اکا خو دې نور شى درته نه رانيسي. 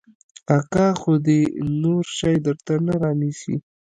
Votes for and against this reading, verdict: 0, 2, rejected